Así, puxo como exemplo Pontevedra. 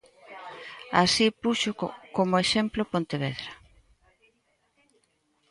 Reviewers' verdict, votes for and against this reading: rejected, 1, 2